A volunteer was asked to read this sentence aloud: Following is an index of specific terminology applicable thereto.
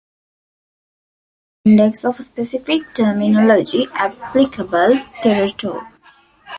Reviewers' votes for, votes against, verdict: 0, 2, rejected